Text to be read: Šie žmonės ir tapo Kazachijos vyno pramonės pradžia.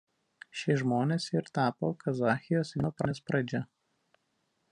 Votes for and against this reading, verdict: 1, 2, rejected